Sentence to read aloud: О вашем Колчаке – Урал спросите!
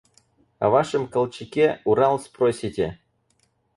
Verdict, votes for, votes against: accepted, 4, 0